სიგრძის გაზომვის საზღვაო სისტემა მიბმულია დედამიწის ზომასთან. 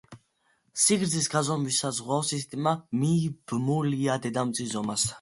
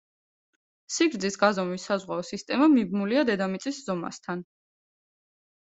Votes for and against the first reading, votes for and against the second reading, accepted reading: 1, 2, 2, 0, second